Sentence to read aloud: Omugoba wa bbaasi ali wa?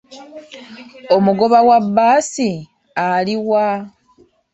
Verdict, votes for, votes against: accepted, 2, 0